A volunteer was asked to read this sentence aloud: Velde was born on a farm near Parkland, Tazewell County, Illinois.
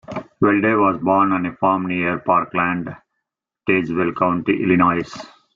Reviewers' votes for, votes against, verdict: 2, 0, accepted